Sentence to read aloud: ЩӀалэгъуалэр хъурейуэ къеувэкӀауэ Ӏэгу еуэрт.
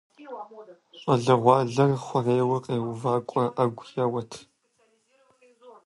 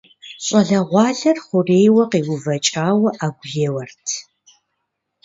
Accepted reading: second